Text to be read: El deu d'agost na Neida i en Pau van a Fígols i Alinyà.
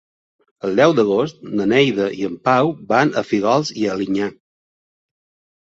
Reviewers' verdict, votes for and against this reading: accepted, 3, 0